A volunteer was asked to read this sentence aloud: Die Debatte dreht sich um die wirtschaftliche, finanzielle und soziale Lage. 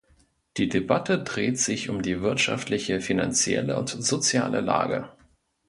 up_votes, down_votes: 2, 0